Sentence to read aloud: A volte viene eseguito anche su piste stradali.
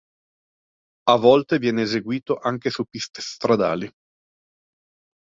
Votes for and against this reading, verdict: 2, 0, accepted